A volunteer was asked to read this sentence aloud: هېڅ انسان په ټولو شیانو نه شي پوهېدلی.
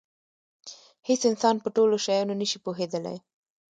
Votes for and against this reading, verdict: 1, 2, rejected